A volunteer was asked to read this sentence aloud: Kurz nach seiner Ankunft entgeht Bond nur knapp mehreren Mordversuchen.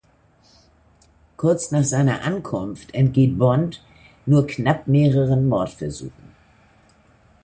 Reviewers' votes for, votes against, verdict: 2, 1, accepted